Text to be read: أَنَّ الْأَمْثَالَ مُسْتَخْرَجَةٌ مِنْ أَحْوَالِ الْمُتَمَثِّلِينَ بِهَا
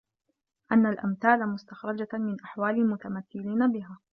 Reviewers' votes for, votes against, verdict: 1, 2, rejected